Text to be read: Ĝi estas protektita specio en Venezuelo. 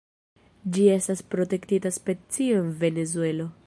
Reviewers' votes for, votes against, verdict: 2, 0, accepted